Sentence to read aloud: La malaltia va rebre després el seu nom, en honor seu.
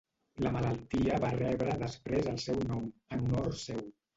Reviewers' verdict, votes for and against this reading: accepted, 2, 0